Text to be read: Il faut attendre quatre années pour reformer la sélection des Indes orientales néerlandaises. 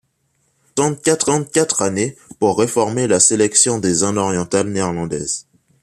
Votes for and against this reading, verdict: 1, 2, rejected